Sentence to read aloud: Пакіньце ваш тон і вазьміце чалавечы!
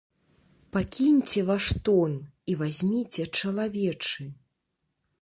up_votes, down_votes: 2, 1